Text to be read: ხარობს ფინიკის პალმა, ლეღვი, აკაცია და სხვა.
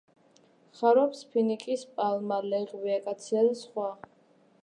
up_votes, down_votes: 2, 0